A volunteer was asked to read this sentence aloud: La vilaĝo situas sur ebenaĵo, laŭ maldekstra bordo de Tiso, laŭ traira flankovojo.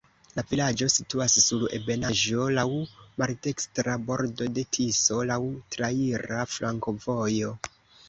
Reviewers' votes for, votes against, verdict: 2, 1, accepted